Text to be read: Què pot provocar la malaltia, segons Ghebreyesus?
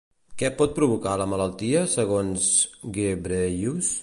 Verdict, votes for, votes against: rejected, 0, 2